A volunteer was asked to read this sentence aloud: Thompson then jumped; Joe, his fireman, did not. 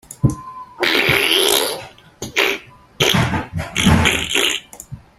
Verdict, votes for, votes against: rejected, 0, 2